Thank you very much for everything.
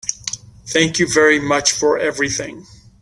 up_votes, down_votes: 2, 0